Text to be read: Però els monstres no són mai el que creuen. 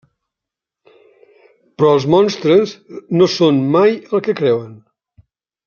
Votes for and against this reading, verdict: 3, 0, accepted